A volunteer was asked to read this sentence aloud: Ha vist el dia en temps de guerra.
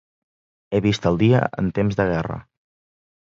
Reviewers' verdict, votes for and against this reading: rejected, 1, 2